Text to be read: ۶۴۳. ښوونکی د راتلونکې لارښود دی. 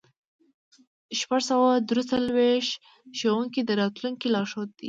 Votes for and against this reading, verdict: 0, 2, rejected